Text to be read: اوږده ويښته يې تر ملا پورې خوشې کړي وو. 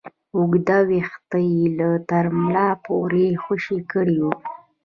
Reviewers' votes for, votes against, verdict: 2, 1, accepted